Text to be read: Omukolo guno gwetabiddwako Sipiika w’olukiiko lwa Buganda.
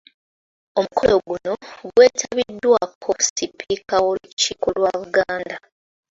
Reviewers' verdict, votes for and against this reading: rejected, 0, 2